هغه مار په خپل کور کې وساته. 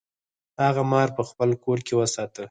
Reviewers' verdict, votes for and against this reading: rejected, 0, 4